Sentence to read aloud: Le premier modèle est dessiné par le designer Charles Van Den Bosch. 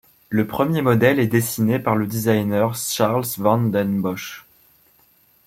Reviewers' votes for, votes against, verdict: 1, 2, rejected